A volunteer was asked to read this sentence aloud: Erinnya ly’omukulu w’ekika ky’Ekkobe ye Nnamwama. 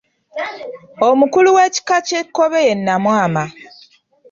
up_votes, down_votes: 0, 2